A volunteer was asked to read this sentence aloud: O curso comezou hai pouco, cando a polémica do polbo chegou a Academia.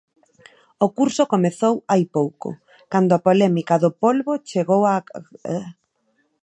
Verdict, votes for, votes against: rejected, 0, 2